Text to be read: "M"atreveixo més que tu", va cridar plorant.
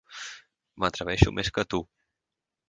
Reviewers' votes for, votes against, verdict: 2, 4, rejected